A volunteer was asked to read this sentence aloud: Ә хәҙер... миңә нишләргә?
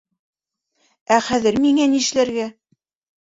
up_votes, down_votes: 1, 2